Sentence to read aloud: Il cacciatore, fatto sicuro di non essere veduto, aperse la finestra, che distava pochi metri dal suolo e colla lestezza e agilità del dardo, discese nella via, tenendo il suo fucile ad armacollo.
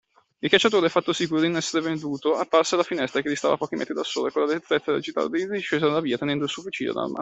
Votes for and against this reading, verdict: 0, 2, rejected